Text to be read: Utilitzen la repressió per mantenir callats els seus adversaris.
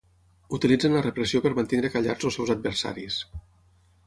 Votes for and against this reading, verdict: 0, 6, rejected